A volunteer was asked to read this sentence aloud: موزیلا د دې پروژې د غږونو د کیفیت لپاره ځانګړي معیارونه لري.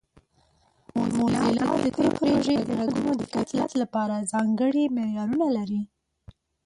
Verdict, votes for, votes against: rejected, 0, 2